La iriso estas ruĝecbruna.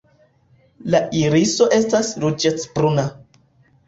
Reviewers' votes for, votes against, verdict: 2, 0, accepted